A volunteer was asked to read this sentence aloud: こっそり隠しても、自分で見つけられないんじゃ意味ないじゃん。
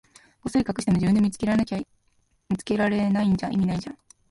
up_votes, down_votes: 0, 2